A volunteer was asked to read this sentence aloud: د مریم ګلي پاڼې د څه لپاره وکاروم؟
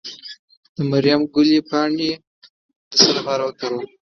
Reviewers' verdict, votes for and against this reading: rejected, 1, 2